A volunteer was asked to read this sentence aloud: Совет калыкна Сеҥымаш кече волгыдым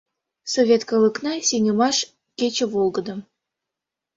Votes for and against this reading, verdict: 2, 1, accepted